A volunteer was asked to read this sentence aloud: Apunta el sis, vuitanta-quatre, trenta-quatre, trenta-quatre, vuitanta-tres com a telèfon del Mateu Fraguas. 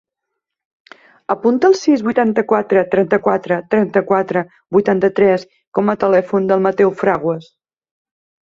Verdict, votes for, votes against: accepted, 2, 0